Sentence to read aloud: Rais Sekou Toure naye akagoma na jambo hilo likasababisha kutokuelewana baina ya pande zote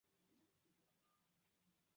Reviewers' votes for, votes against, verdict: 1, 3, rejected